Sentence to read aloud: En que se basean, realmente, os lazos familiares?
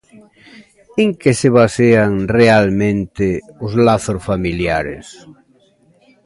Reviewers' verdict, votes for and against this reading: accepted, 2, 0